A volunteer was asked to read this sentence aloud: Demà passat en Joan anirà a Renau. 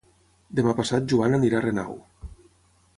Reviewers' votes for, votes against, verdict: 0, 6, rejected